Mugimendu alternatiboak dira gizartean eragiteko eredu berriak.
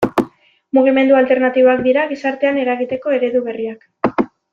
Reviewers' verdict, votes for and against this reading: accepted, 2, 0